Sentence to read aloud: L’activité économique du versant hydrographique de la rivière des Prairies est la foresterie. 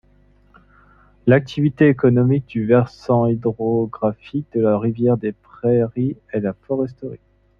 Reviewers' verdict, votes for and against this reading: accepted, 2, 0